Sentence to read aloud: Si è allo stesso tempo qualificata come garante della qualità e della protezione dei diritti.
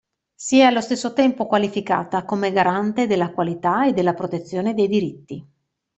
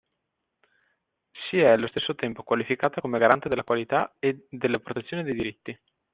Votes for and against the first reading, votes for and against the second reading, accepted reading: 2, 0, 1, 2, first